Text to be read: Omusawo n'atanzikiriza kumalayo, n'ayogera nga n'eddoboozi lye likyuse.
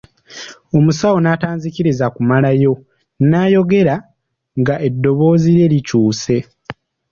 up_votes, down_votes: 2, 3